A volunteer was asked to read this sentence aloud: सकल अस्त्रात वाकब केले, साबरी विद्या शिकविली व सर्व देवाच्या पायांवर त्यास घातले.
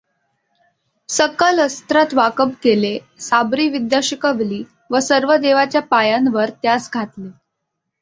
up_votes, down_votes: 2, 1